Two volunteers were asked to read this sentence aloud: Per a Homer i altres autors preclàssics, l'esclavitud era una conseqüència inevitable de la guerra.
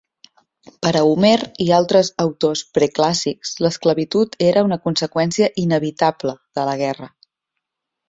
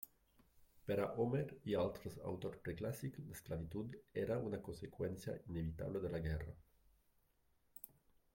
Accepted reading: first